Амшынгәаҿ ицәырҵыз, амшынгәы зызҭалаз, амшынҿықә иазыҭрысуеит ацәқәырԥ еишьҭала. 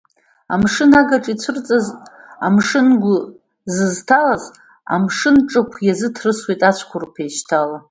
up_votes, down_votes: 1, 2